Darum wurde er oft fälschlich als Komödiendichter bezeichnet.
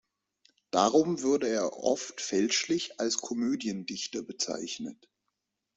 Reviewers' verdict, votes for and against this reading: accepted, 3, 0